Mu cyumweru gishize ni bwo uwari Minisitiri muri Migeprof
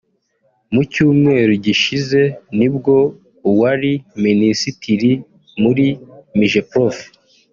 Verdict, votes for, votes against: accepted, 3, 0